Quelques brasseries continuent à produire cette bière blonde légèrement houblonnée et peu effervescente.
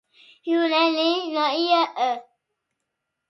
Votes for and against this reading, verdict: 0, 2, rejected